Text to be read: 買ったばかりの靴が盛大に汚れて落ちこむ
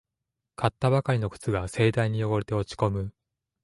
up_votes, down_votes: 2, 0